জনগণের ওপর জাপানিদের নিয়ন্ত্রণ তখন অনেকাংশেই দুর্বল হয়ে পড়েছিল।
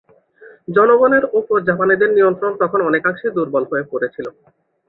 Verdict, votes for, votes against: accepted, 2, 0